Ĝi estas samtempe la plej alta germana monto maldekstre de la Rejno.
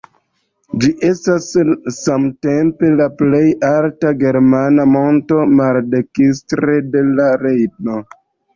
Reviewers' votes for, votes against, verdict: 0, 2, rejected